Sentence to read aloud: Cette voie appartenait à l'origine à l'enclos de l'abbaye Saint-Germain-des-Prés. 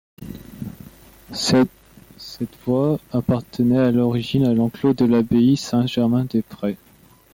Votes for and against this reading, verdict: 0, 2, rejected